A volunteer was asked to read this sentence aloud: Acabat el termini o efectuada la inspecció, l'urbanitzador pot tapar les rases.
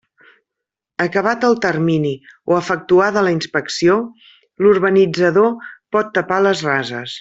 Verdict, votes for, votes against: accepted, 3, 0